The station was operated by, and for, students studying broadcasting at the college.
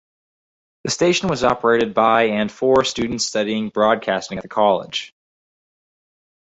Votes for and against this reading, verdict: 2, 4, rejected